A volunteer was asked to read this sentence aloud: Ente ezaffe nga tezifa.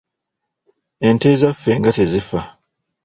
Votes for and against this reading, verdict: 2, 0, accepted